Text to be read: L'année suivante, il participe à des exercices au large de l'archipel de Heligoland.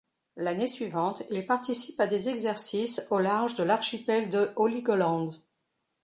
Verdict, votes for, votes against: rejected, 0, 2